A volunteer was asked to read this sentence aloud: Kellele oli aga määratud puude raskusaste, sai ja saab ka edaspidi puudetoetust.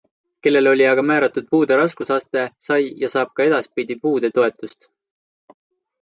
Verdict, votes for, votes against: accepted, 2, 0